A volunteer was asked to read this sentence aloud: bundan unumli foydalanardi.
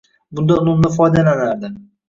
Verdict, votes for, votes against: rejected, 1, 2